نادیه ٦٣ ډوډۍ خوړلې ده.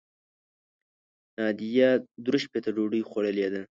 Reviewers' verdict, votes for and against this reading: rejected, 0, 2